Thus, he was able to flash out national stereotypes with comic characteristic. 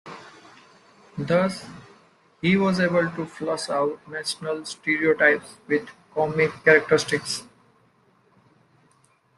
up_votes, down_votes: 1, 2